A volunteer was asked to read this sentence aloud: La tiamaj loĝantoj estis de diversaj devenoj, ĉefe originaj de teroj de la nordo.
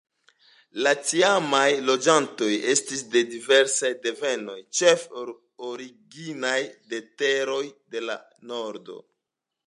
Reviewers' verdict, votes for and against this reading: accepted, 2, 0